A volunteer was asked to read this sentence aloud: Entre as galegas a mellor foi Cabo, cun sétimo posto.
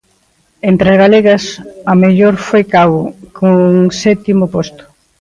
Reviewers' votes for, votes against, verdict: 2, 0, accepted